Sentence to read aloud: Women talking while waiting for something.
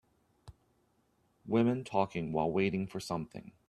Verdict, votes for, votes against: accepted, 2, 0